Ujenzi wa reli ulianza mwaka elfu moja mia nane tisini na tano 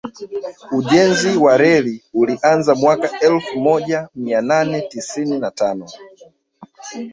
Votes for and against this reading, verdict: 0, 2, rejected